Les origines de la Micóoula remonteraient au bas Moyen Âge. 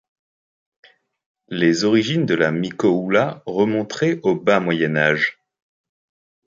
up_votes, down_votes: 2, 1